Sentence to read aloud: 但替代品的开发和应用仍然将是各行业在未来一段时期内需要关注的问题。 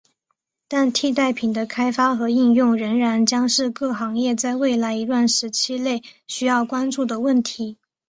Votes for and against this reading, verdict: 7, 2, accepted